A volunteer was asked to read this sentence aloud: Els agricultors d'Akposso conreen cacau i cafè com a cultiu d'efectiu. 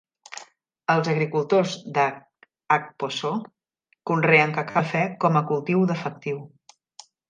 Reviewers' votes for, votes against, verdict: 0, 2, rejected